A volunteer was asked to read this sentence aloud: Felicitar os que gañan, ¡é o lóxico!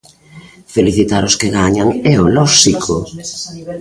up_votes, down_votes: 2, 0